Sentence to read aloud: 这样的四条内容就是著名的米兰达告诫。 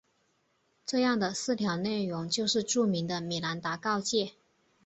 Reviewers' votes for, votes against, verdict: 4, 0, accepted